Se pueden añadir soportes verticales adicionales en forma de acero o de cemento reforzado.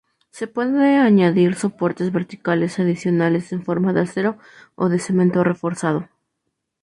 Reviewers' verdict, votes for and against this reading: accepted, 2, 0